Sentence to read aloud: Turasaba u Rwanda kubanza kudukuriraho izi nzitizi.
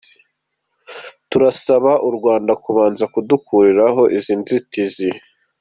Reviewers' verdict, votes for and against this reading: accepted, 2, 0